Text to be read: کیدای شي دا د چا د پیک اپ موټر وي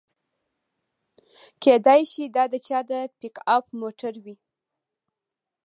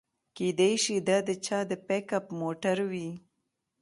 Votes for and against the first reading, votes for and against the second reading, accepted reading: 1, 2, 2, 1, second